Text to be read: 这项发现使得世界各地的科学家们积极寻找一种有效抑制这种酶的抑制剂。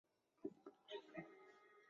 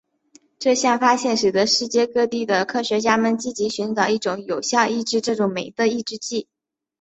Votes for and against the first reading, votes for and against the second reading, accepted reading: 0, 3, 2, 1, second